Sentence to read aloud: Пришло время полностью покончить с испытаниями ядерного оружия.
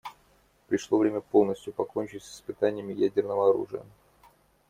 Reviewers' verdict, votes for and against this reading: accepted, 2, 0